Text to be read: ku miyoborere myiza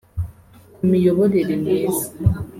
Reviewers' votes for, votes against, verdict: 4, 0, accepted